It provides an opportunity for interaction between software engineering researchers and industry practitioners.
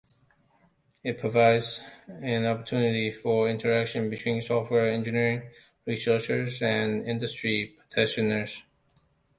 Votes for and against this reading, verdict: 1, 2, rejected